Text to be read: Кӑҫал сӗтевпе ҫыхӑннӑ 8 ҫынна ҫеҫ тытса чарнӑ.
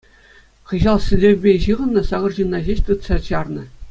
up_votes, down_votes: 0, 2